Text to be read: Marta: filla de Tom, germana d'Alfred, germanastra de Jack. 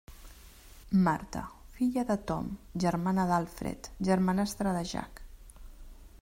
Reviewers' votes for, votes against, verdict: 3, 0, accepted